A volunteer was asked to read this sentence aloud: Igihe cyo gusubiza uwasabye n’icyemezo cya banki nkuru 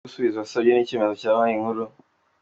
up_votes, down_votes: 1, 2